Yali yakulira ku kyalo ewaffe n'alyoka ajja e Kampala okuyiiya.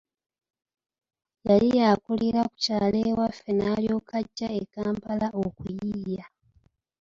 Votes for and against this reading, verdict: 0, 2, rejected